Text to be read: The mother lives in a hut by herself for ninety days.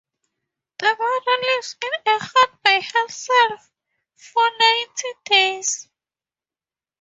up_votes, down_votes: 2, 2